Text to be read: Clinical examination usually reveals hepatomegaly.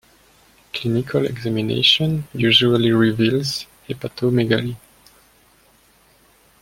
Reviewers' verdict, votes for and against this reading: accepted, 2, 0